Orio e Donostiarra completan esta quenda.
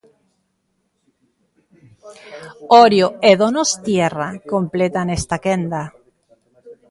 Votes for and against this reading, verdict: 1, 2, rejected